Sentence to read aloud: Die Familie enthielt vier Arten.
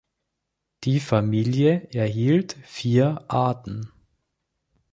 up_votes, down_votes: 2, 3